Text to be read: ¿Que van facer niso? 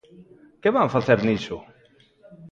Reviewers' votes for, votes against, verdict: 3, 0, accepted